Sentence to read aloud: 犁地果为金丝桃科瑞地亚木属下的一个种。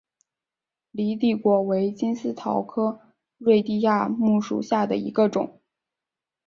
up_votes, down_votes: 2, 1